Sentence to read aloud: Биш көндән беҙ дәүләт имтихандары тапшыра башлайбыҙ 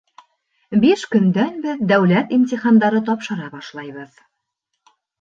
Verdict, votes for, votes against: accepted, 2, 0